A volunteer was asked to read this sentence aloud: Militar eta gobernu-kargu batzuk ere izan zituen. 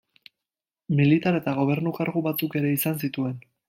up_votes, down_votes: 2, 0